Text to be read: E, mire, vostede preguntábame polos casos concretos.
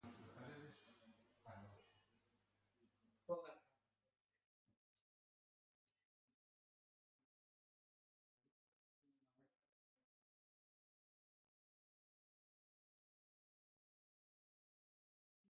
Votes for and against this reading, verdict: 0, 2, rejected